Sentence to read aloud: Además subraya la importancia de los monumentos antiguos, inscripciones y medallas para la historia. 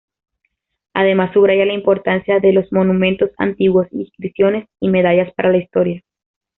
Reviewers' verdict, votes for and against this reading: accepted, 2, 0